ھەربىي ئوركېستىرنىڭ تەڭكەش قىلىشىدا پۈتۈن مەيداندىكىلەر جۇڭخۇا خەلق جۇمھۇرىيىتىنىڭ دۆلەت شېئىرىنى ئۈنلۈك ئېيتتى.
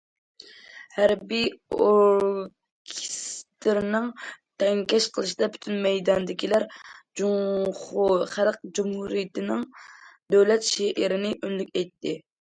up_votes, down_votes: 0, 2